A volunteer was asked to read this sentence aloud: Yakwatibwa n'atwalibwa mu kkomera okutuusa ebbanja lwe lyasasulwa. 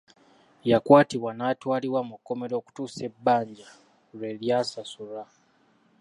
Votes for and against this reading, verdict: 0, 2, rejected